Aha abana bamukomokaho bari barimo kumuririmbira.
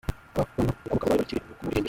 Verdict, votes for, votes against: rejected, 0, 2